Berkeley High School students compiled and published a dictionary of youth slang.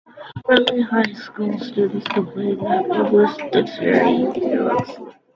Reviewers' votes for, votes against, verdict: 0, 2, rejected